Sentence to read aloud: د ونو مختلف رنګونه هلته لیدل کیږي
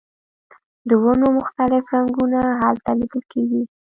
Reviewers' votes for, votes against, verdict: 1, 2, rejected